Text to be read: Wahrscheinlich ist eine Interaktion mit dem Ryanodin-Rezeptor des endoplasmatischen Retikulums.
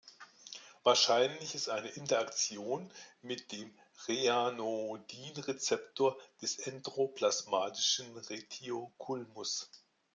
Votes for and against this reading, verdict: 0, 2, rejected